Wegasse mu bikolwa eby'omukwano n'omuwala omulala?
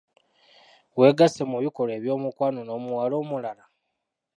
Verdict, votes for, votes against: accepted, 2, 0